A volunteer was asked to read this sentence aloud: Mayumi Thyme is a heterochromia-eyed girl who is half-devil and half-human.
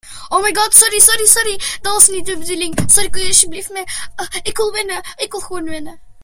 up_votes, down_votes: 0, 2